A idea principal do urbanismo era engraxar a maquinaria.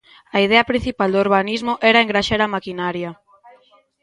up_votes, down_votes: 2, 1